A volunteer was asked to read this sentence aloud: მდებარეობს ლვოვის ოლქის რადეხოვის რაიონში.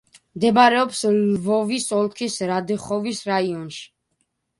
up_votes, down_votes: 2, 1